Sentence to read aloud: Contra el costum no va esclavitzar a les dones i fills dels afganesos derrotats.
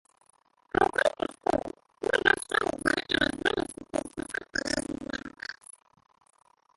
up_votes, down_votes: 0, 3